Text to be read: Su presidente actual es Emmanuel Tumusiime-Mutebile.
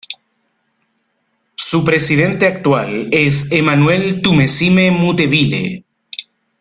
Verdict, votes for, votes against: rejected, 1, 2